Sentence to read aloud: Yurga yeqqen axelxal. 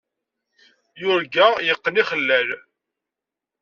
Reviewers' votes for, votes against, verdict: 0, 2, rejected